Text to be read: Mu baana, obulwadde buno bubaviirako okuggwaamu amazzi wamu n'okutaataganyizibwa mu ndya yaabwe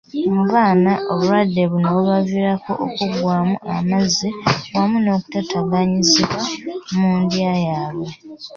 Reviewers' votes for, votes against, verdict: 2, 0, accepted